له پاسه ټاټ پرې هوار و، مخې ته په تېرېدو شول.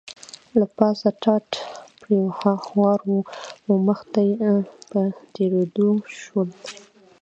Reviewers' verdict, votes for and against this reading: rejected, 1, 2